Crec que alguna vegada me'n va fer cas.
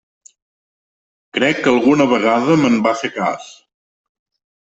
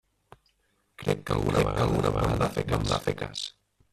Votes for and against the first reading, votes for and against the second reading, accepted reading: 2, 0, 0, 2, first